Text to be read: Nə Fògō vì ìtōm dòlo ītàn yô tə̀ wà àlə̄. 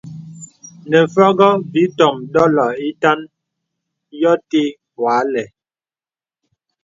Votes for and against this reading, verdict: 2, 0, accepted